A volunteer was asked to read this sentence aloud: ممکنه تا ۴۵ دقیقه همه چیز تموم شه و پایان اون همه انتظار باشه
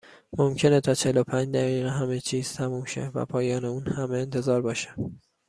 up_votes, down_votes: 0, 2